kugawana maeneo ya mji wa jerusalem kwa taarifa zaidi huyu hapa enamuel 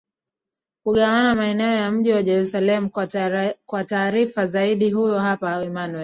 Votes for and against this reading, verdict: 1, 2, rejected